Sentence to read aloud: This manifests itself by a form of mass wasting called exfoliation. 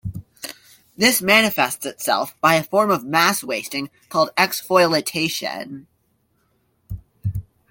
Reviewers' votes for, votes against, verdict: 0, 2, rejected